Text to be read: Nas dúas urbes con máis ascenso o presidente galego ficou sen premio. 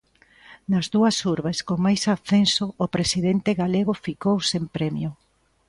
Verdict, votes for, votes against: rejected, 1, 2